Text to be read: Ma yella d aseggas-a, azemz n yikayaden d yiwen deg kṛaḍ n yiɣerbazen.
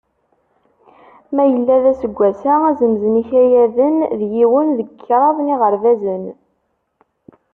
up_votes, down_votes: 2, 0